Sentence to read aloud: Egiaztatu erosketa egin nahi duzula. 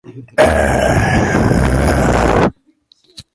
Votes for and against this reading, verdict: 0, 2, rejected